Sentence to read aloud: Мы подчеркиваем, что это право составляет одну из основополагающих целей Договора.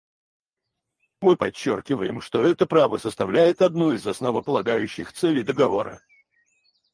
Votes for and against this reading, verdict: 2, 2, rejected